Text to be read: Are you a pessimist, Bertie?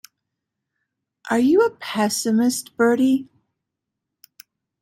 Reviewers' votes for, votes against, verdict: 2, 0, accepted